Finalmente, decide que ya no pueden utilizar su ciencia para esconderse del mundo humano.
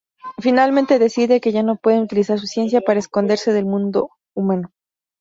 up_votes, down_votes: 0, 2